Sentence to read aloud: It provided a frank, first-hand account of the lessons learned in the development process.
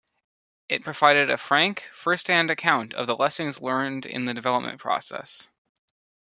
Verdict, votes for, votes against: accepted, 2, 0